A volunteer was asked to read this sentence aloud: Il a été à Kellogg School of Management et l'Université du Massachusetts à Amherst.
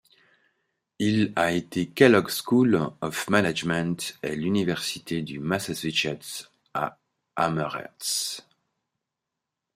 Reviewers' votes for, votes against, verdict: 0, 3, rejected